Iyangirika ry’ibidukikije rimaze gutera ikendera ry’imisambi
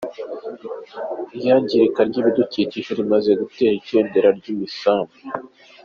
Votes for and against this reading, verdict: 2, 1, accepted